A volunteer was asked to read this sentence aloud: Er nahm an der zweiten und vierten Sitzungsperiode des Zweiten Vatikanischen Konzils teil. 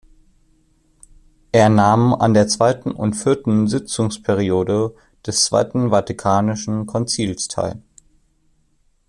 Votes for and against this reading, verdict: 2, 0, accepted